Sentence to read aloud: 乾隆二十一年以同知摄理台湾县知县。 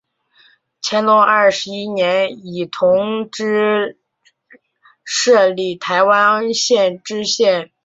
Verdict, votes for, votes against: accepted, 2, 0